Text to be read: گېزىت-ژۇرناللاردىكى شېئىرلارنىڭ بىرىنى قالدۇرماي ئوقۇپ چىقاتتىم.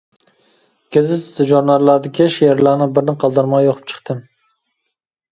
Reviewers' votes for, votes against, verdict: 0, 2, rejected